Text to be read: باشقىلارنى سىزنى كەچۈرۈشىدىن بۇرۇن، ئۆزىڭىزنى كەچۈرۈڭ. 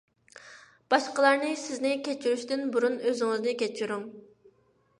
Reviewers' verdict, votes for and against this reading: accepted, 2, 0